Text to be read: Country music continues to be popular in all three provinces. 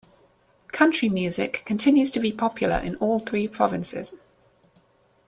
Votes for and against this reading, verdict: 2, 1, accepted